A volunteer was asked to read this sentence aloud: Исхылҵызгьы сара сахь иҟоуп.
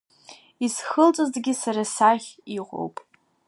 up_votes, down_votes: 3, 0